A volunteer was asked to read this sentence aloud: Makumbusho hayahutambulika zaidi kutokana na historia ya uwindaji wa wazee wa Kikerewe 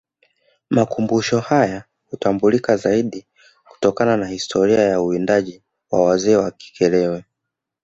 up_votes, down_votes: 2, 0